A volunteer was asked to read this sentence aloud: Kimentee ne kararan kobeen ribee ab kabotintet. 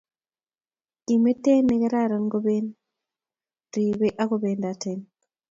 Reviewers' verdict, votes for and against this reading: rejected, 0, 2